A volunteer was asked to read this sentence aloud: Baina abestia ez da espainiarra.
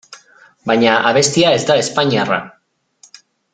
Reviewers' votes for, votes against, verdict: 2, 0, accepted